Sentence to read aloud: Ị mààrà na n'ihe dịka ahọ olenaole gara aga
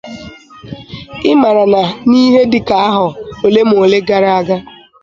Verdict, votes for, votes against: rejected, 0, 2